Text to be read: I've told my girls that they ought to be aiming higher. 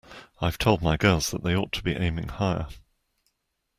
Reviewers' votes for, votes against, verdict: 2, 0, accepted